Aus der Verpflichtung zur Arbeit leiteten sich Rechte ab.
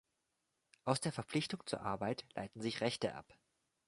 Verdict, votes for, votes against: rejected, 0, 2